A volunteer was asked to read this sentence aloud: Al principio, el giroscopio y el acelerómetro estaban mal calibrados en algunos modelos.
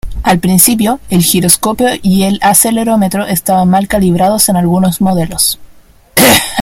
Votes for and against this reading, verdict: 1, 2, rejected